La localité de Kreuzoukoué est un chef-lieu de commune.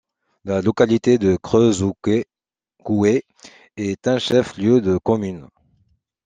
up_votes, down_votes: 0, 2